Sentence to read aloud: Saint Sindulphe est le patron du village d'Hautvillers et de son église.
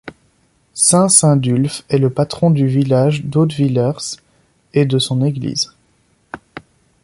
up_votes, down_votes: 1, 2